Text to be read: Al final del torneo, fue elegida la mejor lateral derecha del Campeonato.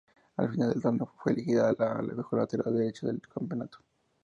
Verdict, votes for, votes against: accepted, 2, 0